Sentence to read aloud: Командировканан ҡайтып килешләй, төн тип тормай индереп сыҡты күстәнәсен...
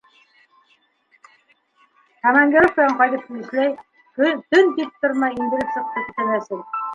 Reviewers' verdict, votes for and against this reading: rejected, 1, 2